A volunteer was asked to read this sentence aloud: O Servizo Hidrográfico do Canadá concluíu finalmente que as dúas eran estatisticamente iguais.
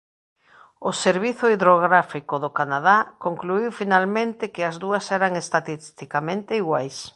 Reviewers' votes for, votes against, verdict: 0, 2, rejected